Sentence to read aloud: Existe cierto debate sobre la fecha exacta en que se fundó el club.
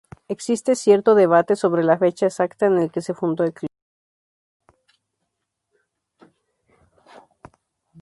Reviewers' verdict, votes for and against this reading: rejected, 0, 2